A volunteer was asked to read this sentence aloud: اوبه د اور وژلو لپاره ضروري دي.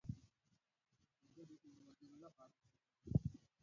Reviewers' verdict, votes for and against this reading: rejected, 0, 2